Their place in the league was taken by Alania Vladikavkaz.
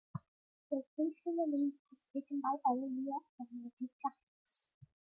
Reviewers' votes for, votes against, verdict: 0, 2, rejected